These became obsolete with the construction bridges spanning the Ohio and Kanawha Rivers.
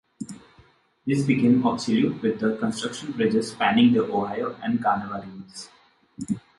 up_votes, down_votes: 2, 1